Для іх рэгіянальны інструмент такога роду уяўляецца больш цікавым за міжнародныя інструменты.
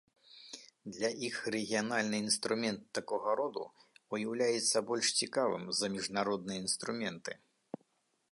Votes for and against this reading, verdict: 2, 0, accepted